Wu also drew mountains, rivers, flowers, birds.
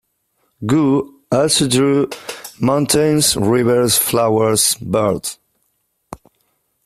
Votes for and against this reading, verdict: 2, 0, accepted